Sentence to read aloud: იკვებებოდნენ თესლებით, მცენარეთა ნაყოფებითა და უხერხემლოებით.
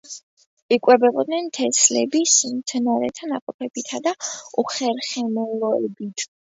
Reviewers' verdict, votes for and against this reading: rejected, 1, 2